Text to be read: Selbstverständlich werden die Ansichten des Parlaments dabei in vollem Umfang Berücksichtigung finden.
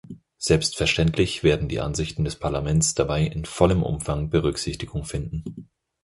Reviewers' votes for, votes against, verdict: 4, 0, accepted